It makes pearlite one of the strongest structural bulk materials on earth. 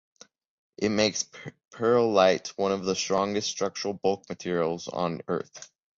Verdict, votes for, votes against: rejected, 1, 2